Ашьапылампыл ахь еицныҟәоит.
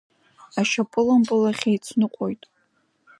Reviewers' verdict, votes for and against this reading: accepted, 2, 0